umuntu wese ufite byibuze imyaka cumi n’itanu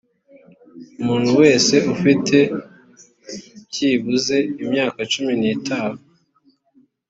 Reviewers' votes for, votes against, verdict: 2, 0, accepted